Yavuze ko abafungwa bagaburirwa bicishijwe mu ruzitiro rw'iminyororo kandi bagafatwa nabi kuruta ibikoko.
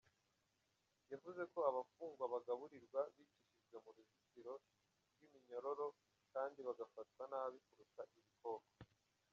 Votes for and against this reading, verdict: 1, 2, rejected